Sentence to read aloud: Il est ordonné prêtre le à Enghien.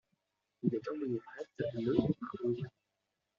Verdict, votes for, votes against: rejected, 1, 2